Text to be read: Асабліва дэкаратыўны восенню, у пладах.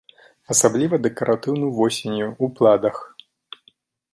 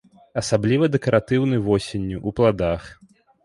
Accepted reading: second